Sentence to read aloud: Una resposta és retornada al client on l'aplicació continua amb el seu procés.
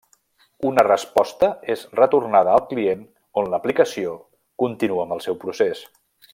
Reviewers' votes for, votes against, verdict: 3, 0, accepted